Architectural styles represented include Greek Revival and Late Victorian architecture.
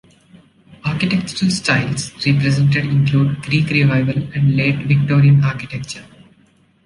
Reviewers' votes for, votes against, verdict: 2, 0, accepted